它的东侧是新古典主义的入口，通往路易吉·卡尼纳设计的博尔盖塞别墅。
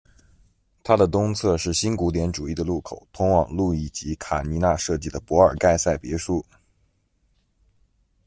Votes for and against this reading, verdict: 2, 0, accepted